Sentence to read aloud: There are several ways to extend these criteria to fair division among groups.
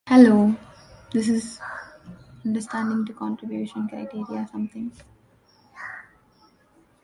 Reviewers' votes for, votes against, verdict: 0, 2, rejected